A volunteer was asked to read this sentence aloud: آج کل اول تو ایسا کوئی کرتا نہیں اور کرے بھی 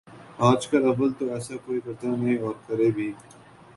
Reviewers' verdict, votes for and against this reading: accepted, 8, 0